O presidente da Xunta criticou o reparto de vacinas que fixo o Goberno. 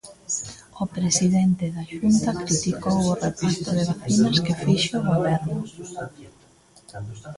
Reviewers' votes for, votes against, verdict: 1, 2, rejected